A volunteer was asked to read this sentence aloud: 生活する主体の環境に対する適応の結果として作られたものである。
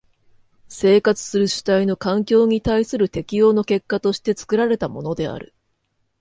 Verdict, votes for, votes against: accepted, 2, 0